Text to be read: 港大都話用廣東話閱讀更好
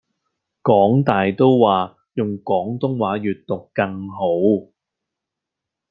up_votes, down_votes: 2, 0